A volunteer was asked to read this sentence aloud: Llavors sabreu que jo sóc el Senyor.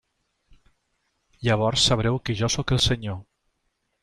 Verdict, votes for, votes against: accepted, 3, 0